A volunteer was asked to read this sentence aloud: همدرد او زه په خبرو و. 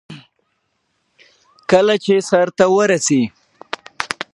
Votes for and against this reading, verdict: 0, 2, rejected